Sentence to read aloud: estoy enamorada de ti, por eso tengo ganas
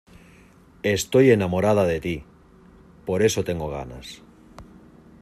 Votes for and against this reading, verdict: 2, 0, accepted